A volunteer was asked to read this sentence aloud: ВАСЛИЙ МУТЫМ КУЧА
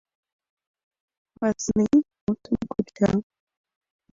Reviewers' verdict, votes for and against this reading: rejected, 0, 2